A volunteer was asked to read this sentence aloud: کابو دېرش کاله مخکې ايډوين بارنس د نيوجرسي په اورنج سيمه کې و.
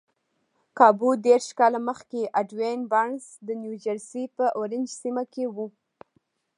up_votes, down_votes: 1, 2